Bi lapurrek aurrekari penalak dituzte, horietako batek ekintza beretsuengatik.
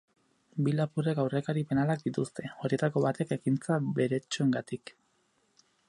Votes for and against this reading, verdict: 0, 2, rejected